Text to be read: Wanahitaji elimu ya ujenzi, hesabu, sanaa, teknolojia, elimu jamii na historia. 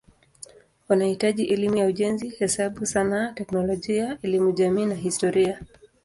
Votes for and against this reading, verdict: 2, 0, accepted